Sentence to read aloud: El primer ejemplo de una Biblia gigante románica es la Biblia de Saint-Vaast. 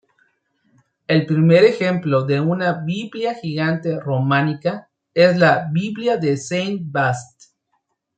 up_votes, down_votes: 2, 0